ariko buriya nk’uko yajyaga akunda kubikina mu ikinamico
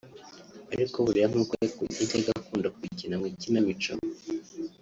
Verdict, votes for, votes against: rejected, 1, 3